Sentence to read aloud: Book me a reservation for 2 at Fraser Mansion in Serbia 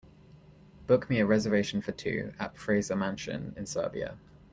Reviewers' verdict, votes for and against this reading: rejected, 0, 2